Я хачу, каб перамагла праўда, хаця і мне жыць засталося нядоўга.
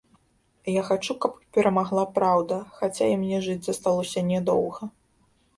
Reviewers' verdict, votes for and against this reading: rejected, 0, 2